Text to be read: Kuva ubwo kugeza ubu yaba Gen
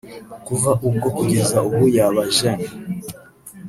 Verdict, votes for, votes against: rejected, 1, 2